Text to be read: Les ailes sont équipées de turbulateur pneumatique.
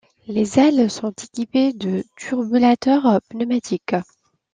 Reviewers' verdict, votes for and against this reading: accepted, 2, 0